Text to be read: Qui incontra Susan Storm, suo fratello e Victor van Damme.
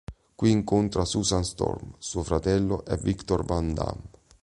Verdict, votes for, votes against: accepted, 2, 0